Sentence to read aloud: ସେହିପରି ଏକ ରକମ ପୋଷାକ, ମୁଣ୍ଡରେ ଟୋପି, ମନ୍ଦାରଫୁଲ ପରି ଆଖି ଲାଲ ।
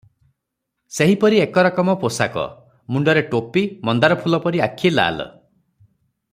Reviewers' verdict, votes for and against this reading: accepted, 3, 0